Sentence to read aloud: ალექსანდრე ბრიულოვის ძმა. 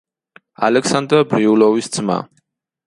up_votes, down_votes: 2, 1